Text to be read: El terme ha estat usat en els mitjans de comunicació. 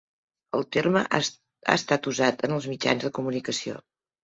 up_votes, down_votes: 1, 2